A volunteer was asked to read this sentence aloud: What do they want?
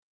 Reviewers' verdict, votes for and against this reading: rejected, 0, 2